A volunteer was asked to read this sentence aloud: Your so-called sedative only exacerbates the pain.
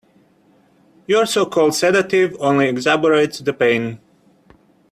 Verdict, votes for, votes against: rejected, 1, 2